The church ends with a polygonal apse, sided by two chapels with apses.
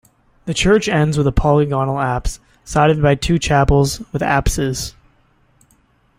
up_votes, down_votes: 2, 0